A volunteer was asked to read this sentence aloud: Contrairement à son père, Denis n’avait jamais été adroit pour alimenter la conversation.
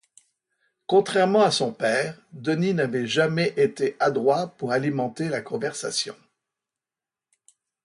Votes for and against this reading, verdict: 2, 0, accepted